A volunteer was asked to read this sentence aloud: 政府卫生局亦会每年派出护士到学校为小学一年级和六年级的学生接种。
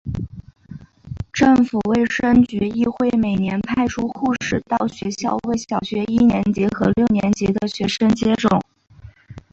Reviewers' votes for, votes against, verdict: 2, 0, accepted